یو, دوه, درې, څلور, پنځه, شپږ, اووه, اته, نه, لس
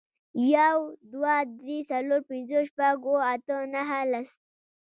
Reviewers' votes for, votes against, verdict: 2, 0, accepted